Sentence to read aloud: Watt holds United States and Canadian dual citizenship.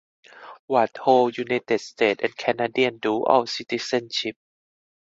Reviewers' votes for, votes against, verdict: 2, 4, rejected